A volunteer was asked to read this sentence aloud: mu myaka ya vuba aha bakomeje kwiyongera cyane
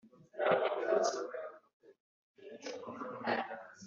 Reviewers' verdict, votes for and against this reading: rejected, 1, 2